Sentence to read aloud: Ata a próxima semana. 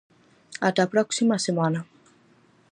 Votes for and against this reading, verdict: 4, 0, accepted